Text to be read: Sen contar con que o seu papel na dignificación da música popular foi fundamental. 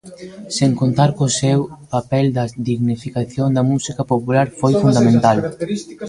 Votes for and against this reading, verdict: 0, 2, rejected